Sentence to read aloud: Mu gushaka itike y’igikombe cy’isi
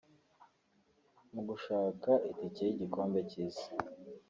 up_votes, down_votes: 2, 1